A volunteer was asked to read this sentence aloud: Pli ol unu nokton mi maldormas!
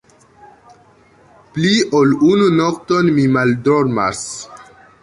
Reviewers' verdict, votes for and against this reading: rejected, 1, 2